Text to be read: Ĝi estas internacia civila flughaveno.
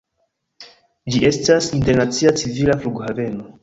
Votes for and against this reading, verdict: 1, 2, rejected